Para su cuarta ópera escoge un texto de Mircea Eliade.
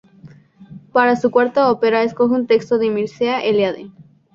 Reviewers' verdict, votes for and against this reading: rejected, 0, 2